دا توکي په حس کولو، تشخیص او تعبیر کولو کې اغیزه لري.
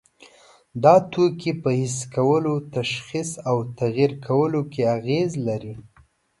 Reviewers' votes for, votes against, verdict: 0, 2, rejected